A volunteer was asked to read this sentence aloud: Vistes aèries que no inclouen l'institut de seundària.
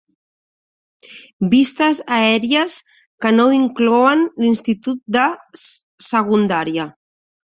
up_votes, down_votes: 0, 2